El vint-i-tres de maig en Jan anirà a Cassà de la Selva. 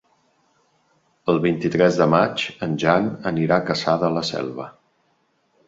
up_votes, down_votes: 3, 0